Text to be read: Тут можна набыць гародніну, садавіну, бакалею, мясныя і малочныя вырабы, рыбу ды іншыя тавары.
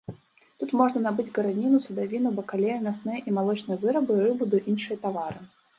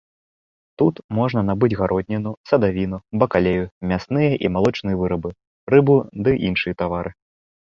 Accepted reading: second